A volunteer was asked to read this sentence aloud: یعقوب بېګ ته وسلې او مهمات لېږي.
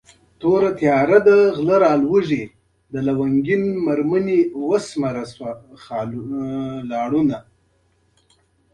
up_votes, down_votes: 0, 2